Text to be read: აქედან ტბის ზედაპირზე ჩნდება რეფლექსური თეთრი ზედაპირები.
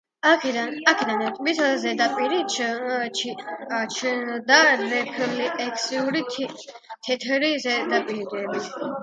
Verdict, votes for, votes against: rejected, 0, 2